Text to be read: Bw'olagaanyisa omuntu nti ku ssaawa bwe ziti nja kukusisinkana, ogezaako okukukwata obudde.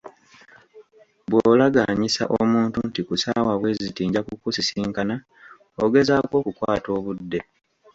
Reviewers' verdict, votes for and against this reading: accepted, 2, 0